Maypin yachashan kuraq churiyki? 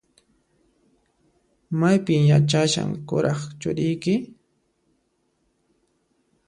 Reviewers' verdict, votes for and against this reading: accepted, 2, 0